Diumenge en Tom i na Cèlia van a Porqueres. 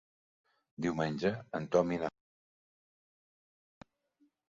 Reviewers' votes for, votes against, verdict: 1, 2, rejected